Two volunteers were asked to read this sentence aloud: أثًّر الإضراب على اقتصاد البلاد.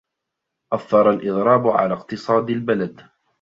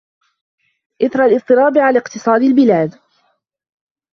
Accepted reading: first